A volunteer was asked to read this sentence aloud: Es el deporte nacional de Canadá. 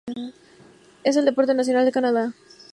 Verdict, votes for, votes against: accepted, 2, 0